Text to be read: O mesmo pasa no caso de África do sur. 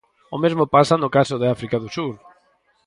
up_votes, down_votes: 4, 0